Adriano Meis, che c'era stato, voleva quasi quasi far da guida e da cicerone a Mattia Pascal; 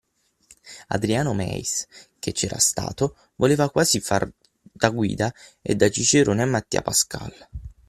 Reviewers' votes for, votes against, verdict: 3, 6, rejected